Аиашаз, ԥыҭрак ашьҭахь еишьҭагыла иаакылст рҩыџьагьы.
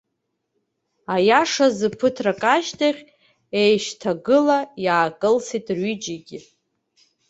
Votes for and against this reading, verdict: 0, 2, rejected